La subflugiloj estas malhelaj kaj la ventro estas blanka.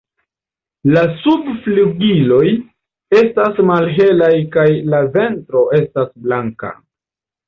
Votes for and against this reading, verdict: 2, 0, accepted